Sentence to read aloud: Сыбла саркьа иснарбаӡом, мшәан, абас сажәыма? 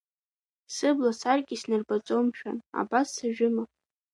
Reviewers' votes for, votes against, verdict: 2, 0, accepted